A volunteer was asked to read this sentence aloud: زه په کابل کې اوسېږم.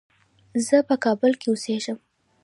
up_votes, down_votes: 3, 2